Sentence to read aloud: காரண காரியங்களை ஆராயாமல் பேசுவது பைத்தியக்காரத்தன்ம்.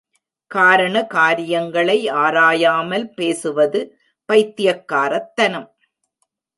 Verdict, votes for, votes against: rejected, 0, 2